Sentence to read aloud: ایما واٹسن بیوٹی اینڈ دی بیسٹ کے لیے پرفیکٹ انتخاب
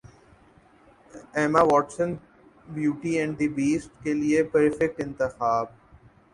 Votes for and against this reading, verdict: 8, 0, accepted